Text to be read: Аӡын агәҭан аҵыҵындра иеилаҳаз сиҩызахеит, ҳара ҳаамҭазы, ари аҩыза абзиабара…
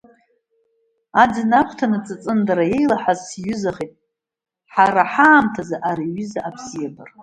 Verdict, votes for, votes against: rejected, 1, 2